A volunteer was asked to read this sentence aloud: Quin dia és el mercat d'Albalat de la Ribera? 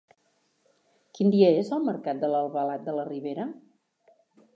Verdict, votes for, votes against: rejected, 1, 2